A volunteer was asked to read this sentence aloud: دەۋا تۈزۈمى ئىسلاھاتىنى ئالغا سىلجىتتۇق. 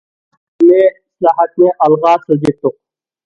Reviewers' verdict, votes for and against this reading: rejected, 0, 2